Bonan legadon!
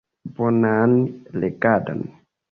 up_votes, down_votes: 2, 0